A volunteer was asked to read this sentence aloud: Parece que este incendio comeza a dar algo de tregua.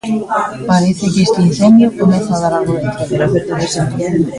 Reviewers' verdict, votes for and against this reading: rejected, 0, 2